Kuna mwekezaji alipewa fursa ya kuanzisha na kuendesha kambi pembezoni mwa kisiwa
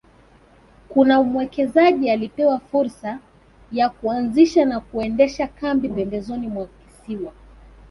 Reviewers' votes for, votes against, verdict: 2, 1, accepted